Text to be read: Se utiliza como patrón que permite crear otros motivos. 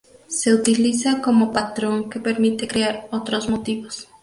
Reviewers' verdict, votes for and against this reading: accepted, 2, 0